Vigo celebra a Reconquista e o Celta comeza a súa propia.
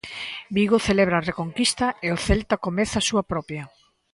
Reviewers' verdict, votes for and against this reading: accepted, 2, 0